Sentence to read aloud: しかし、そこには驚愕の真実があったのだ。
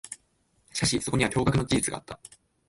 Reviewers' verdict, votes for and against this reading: rejected, 3, 6